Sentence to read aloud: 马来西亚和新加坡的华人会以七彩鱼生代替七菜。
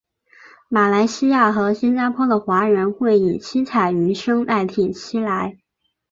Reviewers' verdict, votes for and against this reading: accepted, 2, 0